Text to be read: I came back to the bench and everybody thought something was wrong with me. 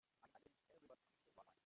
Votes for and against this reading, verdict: 0, 2, rejected